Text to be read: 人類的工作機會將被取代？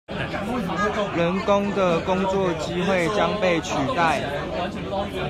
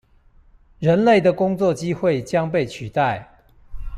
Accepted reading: second